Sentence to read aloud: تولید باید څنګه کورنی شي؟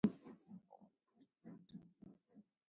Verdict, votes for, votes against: rejected, 1, 2